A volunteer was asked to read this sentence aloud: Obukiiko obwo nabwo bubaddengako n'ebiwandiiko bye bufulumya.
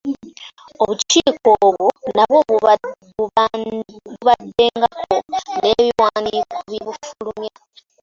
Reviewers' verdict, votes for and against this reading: rejected, 1, 2